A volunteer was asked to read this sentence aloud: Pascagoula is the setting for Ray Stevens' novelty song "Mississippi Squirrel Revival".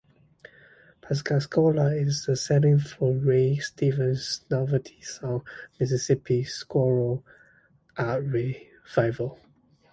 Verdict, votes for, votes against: rejected, 0, 2